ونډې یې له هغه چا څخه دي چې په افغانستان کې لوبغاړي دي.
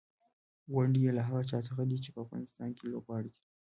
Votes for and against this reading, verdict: 0, 2, rejected